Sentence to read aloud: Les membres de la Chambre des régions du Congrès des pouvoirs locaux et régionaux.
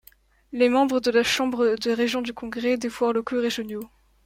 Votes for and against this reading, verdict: 1, 2, rejected